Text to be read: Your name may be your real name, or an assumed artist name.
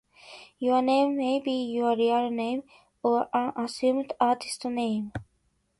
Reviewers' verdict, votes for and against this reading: accepted, 3, 0